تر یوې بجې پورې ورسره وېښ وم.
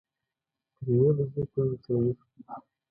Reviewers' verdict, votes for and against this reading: rejected, 1, 2